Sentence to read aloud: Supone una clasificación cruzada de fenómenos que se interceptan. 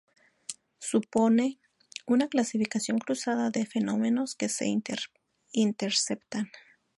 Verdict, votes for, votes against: rejected, 0, 2